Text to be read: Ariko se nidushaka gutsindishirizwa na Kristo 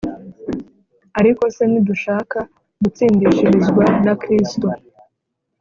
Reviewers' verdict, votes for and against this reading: accepted, 3, 1